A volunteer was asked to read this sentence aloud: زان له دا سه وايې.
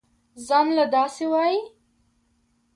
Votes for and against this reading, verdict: 2, 1, accepted